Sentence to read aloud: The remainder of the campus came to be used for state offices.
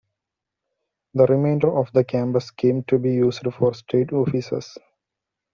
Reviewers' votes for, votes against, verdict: 2, 0, accepted